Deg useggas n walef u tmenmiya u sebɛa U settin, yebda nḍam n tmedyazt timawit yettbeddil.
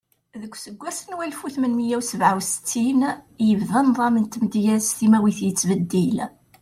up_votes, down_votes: 2, 0